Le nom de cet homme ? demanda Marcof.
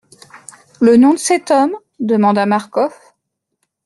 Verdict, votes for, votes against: accepted, 2, 0